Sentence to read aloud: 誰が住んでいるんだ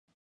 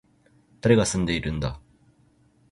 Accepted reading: second